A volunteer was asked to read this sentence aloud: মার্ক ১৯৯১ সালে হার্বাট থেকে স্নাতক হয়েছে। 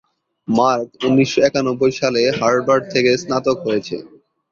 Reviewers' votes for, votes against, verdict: 0, 2, rejected